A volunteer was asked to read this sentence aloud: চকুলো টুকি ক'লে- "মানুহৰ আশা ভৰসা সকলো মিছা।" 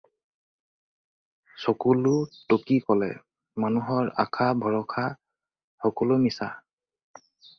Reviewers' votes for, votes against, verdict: 4, 0, accepted